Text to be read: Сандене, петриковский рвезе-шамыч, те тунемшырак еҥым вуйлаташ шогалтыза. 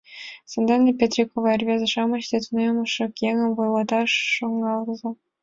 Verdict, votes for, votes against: rejected, 1, 2